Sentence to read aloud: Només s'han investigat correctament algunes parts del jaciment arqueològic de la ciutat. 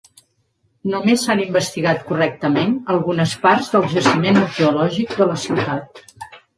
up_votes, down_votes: 2, 0